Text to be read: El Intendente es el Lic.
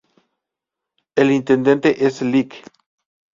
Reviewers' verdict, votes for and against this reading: accepted, 2, 0